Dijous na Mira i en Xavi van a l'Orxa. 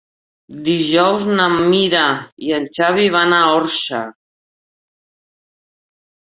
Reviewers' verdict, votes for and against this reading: rejected, 0, 3